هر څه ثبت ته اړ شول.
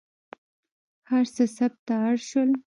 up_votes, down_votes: 1, 2